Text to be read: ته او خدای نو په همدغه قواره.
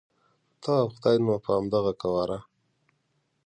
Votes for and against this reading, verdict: 2, 0, accepted